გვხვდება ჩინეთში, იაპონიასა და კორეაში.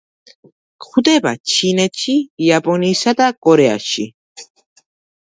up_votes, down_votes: 2, 0